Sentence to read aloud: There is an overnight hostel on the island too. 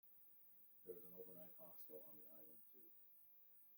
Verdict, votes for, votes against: rejected, 0, 2